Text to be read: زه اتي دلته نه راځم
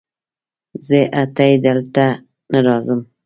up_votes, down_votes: 2, 0